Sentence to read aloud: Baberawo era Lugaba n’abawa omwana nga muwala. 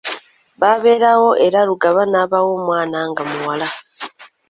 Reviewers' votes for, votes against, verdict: 2, 0, accepted